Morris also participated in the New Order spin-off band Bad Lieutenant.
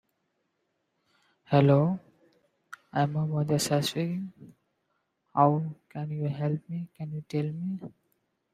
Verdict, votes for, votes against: rejected, 0, 2